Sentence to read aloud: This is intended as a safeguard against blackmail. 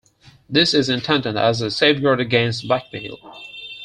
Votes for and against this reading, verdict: 4, 2, accepted